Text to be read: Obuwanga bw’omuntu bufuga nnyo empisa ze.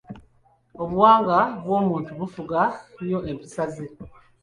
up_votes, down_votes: 3, 0